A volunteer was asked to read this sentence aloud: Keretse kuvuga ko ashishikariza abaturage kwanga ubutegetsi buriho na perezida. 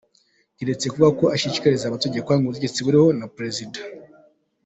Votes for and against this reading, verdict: 2, 0, accepted